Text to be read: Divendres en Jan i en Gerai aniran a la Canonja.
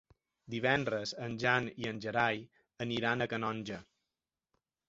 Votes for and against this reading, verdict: 0, 2, rejected